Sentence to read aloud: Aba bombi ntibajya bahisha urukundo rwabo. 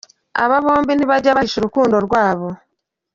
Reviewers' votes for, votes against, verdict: 1, 2, rejected